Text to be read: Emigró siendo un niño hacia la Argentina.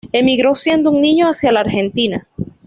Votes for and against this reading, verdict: 2, 0, accepted